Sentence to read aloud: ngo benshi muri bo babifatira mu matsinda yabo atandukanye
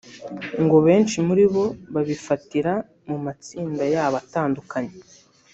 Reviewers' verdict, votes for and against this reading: rejected, 1, 2